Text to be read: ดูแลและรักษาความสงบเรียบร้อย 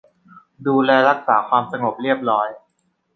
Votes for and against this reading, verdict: 1, 2, rejected